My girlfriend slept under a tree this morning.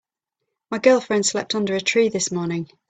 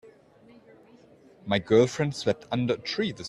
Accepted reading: first